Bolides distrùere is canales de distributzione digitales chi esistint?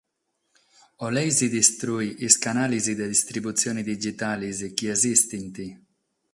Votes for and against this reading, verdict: 3, 3, rejected